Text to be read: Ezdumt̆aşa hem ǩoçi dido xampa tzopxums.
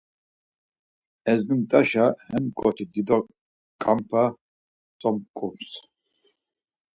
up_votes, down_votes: 0, 4